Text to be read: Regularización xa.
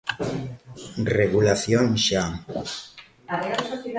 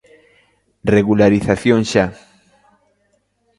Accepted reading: second